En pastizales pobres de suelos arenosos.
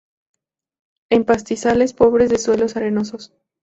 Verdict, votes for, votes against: rejected, 0, 2